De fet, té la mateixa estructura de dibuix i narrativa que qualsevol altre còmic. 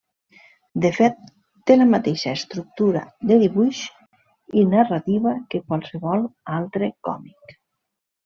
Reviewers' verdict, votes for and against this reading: accepted, 3, 0